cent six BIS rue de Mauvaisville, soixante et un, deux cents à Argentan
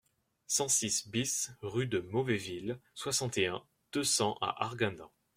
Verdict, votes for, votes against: rejected, 0, 2